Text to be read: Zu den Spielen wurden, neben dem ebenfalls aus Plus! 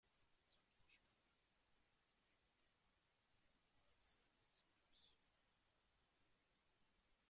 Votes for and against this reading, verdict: 0, 2, rejected